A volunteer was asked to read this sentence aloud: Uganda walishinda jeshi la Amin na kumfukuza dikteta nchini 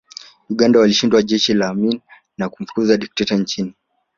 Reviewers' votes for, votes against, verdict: 2, 1, accepted